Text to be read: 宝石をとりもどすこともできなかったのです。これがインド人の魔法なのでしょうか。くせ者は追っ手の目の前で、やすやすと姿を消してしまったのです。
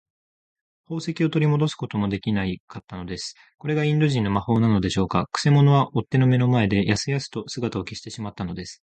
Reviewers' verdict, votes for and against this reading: rejected, 1, 2